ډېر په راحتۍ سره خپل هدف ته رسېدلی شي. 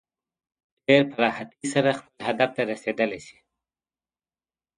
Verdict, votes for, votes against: rejected, 0, 2